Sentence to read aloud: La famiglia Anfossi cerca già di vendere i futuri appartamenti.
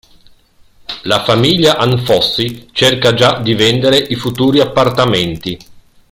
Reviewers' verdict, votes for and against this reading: rejected, 1, 2